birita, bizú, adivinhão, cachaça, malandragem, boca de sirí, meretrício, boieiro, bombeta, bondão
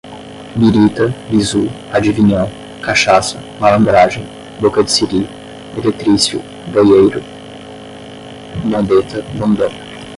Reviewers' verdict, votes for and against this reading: rejected, 5, 5